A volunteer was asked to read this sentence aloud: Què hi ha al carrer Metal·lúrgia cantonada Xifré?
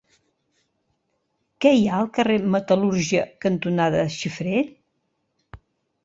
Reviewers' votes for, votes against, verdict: 2, 0, accepted